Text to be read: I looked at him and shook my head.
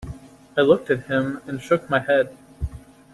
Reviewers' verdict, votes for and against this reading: accepted, 2, 0